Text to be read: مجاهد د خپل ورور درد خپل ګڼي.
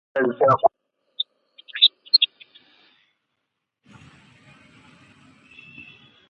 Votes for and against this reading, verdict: 0, 2, rejected